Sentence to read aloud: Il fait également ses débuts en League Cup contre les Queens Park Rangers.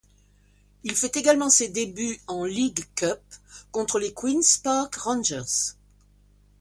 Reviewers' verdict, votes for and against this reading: accepted, 2, 0